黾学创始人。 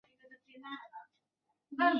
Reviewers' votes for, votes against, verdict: 5, 0, accepted